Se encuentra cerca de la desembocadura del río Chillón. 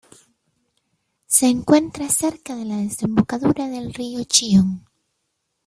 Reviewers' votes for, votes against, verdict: 2, 0, accepted